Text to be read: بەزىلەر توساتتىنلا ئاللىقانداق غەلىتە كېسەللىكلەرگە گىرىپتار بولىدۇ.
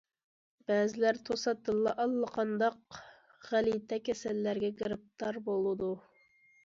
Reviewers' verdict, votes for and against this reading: rejected, 1, 2